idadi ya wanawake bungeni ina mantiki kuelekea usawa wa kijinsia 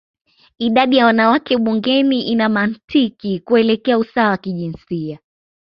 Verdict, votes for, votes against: accepted, 2, 0